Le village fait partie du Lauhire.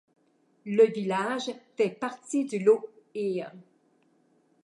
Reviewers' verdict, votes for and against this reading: rejected, 0, 2